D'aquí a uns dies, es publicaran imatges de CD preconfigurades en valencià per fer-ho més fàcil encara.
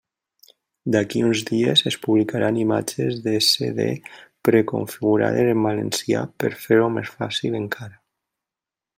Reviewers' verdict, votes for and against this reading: accepted, 2, 0